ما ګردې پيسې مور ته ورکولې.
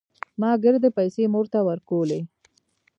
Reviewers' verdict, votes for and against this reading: accepted, 2, 1